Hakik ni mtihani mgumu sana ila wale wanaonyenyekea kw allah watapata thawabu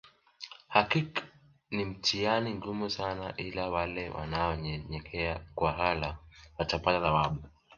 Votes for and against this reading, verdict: 1, 2, rejected